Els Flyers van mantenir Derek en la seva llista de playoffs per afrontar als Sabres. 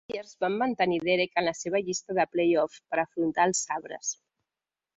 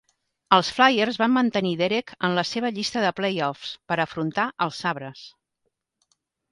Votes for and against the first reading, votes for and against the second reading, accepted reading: 0, 2, 2, 0, second